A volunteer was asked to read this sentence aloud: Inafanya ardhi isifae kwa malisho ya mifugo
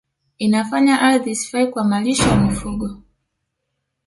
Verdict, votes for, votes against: accepted, 2, 1